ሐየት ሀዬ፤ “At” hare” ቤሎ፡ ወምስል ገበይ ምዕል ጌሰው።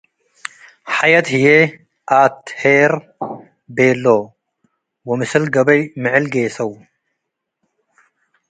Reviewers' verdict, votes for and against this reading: rejected, 1, 2